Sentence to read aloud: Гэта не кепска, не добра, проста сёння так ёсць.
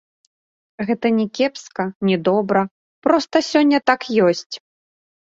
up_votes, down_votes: 2, 0